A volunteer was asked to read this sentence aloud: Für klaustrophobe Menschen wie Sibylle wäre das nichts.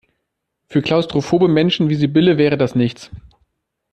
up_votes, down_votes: 2, 0